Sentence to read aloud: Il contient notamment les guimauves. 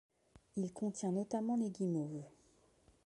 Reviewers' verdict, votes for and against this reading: accepted, 2, 0